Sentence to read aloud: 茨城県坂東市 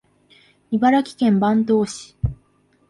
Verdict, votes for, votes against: accepted, 2, 0